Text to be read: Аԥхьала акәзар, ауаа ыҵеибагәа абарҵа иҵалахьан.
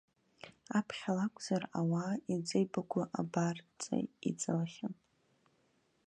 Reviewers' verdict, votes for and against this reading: rejected, 0, 2